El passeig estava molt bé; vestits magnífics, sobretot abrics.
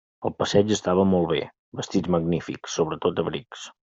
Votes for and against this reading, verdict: 0, 2, rejected